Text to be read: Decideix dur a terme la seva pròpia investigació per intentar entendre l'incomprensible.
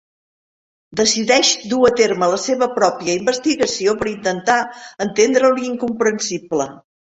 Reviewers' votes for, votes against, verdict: 3, 0, accepted